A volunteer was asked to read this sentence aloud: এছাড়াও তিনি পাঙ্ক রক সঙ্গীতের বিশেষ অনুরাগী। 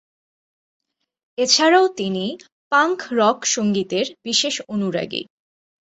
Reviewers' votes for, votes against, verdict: 2, 0, accepted